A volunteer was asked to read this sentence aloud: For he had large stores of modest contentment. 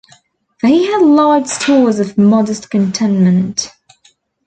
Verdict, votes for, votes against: rejected, 1, 2